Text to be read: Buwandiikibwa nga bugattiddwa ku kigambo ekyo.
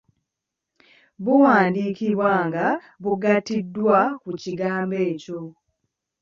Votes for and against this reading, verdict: 2, 1, accepted